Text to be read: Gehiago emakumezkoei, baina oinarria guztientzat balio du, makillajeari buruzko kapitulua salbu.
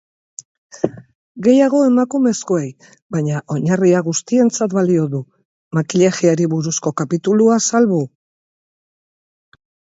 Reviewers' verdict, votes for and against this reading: rejected, 0, 2